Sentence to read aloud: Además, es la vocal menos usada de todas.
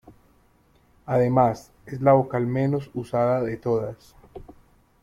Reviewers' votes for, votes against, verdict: 2, 0, accepted